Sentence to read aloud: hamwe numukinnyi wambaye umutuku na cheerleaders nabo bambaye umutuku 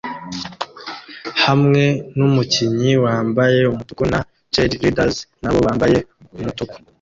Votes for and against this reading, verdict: 0, 2, rejected